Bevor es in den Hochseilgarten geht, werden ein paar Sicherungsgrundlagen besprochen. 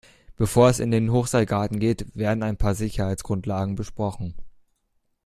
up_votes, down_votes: 1, 2